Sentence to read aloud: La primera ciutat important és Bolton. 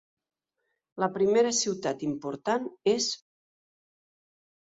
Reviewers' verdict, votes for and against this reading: rejected, 1, 2